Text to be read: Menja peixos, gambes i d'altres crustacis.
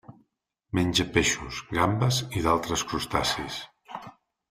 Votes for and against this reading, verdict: 3, 0, accepted